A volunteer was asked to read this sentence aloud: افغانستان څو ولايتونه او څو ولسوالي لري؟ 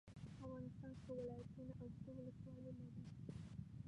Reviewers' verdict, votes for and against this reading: rejected, 0, 2